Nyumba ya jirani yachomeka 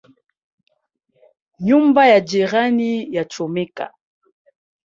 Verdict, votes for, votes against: accepted, 2, 0